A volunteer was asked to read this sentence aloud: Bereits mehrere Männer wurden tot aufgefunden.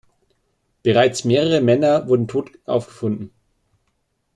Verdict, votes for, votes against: accepted, 2, 0